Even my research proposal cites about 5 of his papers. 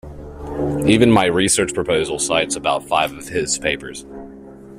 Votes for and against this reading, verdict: 0, 2, rejected